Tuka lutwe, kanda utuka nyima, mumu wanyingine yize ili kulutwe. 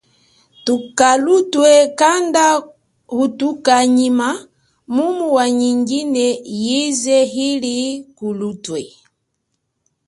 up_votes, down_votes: 2, 0